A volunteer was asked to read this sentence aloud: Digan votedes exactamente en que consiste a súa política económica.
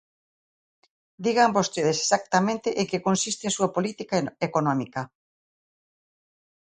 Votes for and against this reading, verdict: 0, 2, rejected